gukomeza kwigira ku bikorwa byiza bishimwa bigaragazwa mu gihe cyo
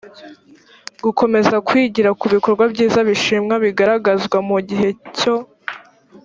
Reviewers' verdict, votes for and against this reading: accepted, 2, 0